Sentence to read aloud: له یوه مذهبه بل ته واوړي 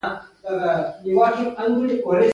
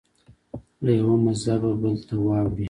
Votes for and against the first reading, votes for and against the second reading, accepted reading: 3, 0, 0, 2, first